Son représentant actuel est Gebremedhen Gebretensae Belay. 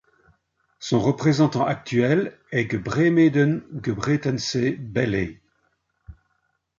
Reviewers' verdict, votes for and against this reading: rejected, 0, 2